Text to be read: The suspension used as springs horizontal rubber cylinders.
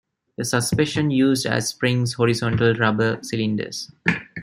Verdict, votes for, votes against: accepted, 2, 1